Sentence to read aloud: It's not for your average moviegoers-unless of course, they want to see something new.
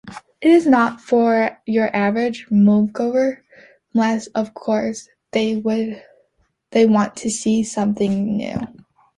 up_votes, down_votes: 0, 2